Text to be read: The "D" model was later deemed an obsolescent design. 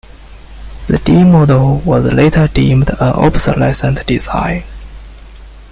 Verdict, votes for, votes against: accepted, 2, 0